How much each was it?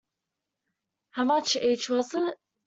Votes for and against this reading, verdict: 2, 0, accepted